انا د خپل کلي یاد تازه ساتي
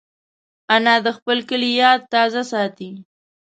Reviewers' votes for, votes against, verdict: 1, 2, rejected